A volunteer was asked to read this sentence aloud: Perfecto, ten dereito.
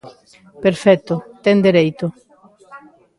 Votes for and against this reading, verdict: 2, 1, accepted